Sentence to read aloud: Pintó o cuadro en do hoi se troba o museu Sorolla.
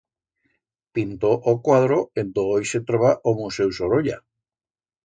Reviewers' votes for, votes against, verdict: 2, 0, accepted